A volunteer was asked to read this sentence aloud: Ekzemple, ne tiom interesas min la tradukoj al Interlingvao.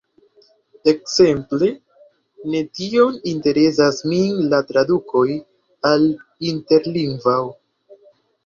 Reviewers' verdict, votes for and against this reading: rejected, 1, 2